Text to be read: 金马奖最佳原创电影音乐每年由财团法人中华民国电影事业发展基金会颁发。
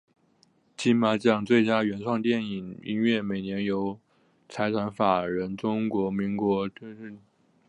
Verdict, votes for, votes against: rejected, 1, 2